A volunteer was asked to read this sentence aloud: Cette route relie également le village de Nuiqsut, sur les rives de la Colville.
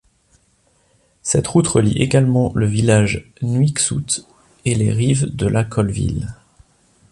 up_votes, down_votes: 1, 2